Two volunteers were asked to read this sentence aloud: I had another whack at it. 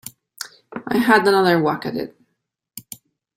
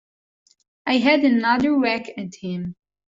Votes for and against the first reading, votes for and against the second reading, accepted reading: 2, 0, 0, 2, first